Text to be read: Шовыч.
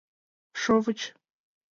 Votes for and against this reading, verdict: 2, 0, accepted